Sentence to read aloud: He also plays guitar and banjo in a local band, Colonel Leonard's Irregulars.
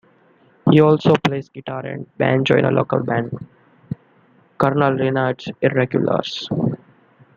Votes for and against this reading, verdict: 0, 2, rejected